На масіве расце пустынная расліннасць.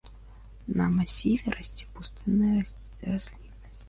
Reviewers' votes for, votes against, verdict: 0, 2, rejected